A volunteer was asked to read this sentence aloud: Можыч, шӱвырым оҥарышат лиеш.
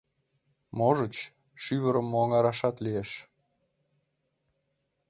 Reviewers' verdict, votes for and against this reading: rejected, 1, 2